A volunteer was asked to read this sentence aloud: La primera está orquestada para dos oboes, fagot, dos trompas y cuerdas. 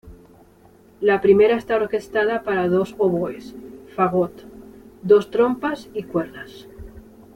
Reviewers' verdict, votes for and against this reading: rejected, 1, 2